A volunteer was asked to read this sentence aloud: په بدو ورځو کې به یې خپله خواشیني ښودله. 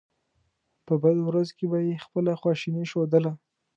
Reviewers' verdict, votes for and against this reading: accepted, 2, 0